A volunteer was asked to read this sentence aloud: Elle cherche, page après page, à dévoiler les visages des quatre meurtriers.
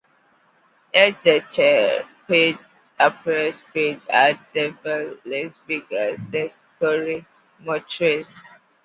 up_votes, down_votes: 2, 1